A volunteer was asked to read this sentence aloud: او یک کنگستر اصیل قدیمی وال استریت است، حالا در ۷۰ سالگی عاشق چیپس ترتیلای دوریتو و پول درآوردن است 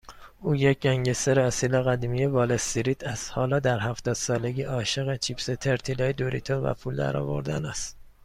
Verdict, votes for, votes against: rejected, 0, 2